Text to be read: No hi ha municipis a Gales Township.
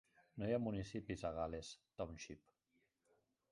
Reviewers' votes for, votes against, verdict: 0, 2, rejected